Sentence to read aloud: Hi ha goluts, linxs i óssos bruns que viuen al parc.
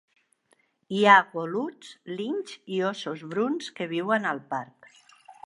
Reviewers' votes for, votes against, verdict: 2, 0, accepted